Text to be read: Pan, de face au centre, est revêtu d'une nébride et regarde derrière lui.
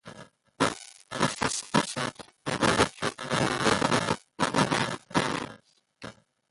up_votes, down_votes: 0, 2